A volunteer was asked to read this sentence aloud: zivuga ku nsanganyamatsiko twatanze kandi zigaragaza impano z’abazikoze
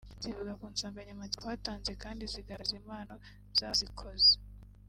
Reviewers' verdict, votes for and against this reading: rejected, 1, 2